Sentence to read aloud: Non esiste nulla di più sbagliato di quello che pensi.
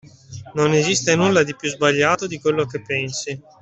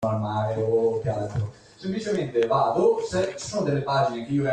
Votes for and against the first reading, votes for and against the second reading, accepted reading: 2, 0, 0, 2, first